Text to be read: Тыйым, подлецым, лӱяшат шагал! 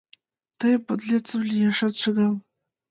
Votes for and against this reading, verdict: 0, 2, rejected